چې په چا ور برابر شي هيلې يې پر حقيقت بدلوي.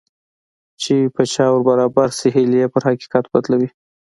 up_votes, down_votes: 2, 0